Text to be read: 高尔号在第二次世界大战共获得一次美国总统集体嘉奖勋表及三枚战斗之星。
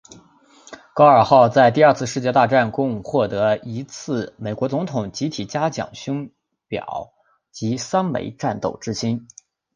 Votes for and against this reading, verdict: 9, 0, accepted